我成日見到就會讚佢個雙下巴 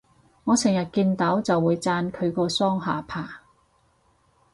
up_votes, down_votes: 4, 0